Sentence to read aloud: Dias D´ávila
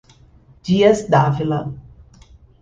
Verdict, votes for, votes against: accepted, 2, 0